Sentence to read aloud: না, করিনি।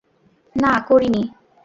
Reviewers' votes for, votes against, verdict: 2, 0, accepted